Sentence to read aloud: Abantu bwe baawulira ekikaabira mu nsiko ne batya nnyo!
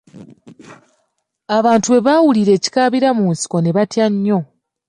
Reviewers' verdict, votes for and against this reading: accepted, 2, 0